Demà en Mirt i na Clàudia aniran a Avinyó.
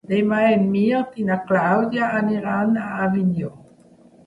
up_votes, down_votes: 1, 2